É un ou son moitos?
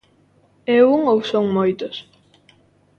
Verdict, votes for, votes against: accepted, 2, 0